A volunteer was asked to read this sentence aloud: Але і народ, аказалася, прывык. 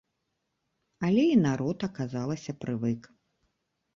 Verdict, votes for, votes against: accepted, 2, 0